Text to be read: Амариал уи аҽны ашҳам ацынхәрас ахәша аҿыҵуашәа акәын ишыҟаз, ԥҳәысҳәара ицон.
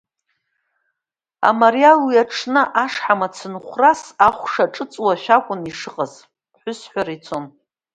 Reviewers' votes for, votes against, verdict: 2, 0, accepted